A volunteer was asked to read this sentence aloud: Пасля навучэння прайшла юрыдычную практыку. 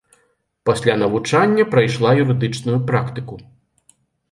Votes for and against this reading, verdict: 1, 2, rejected